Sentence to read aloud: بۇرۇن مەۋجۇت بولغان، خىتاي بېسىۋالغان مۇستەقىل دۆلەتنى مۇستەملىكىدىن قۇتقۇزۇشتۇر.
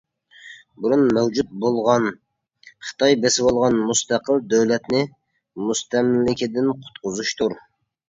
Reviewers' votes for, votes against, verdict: 2, 0, accepted